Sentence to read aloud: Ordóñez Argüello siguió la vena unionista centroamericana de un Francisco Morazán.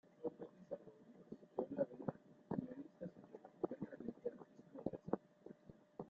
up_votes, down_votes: 0, 2